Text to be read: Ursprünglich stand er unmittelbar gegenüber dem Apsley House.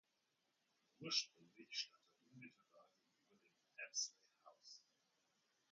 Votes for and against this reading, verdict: 0, 2, rejected